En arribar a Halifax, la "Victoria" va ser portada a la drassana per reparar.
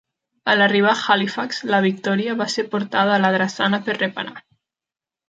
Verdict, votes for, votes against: accepted, 2, 0